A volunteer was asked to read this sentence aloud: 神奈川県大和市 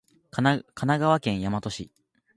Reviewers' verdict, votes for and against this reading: rejected, 0, 2